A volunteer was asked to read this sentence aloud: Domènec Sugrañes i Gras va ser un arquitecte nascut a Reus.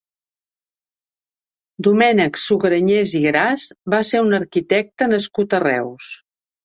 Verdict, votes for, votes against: rejected, 1, 2